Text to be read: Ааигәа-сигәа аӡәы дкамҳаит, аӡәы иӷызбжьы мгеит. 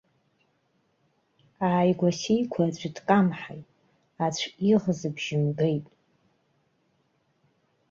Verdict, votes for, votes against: accepted, 2, 1